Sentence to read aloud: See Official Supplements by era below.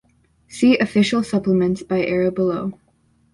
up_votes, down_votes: 3, 0